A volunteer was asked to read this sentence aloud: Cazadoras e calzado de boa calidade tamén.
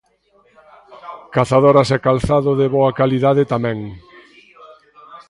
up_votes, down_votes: 2, 0